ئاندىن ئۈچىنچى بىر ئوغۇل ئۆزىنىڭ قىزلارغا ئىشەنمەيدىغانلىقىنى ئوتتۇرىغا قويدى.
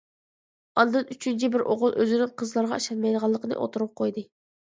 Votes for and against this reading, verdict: 2, 0, accepted